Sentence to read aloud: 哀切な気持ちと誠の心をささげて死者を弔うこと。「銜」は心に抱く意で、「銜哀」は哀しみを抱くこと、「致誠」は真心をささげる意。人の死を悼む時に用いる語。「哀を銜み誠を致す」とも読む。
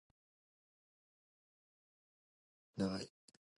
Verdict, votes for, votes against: rejected, 1, 3